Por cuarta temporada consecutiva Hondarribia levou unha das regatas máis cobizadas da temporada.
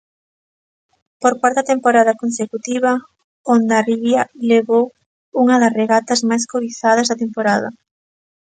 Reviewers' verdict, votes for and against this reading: accepted, 2, 0